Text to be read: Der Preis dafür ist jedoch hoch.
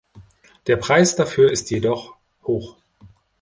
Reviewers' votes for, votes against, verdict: 2, 0, accepted